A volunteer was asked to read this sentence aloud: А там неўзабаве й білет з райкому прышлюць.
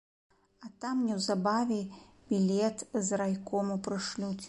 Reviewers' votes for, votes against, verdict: 2, 0, accepted